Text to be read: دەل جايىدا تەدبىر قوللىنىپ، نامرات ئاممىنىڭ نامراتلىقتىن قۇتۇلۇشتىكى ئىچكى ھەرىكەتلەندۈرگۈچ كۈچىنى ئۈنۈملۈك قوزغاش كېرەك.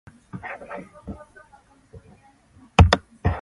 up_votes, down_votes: 0, 2